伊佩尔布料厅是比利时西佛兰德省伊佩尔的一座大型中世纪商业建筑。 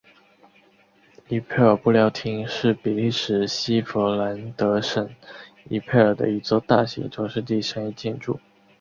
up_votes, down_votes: 2, 1